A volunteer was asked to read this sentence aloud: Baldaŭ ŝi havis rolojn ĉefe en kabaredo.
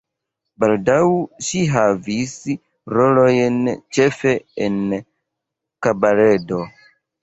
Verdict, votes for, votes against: rejected, 2, 3